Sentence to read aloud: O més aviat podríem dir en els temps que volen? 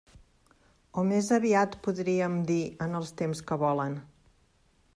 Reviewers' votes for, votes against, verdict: 2, 0, accepted